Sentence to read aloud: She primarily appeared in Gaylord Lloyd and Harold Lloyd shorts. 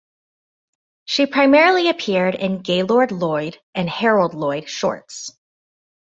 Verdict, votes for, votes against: accepted, 2, 0